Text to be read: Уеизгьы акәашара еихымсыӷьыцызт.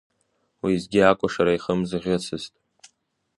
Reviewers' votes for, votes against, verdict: 0, 2, rejected